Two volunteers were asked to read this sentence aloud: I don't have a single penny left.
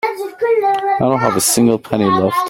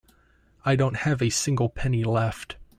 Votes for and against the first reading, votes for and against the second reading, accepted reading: 0, 2, 2, 0, second